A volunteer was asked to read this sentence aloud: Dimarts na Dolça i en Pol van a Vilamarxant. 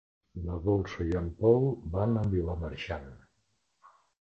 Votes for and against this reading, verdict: 1, 2, rejected